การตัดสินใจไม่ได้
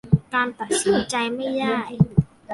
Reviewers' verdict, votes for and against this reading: rejected, 1, 2